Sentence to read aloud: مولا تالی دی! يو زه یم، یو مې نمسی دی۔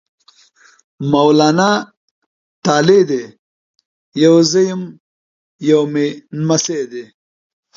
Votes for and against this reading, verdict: 0, 2, rejected